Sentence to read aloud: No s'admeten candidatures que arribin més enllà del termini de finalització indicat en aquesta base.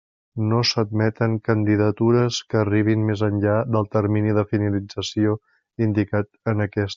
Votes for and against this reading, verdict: 0, 2, rejected